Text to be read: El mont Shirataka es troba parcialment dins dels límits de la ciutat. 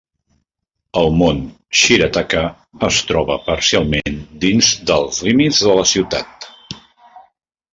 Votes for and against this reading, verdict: 2, 0, accepted